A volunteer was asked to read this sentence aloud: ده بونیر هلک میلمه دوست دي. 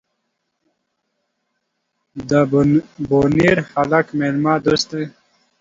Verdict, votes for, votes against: rejected, 1, 2